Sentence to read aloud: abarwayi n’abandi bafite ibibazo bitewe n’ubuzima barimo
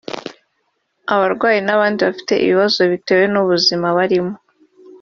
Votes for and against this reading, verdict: 0, 2, rejected